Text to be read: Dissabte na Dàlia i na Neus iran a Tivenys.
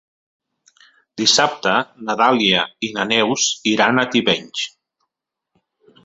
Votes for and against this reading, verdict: 3, 0, accepted